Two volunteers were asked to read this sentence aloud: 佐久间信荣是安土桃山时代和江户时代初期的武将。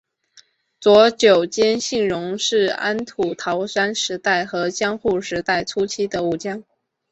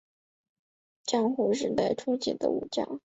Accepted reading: first